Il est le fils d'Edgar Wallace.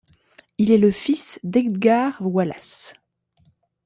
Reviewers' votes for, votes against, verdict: 2, 1, accepted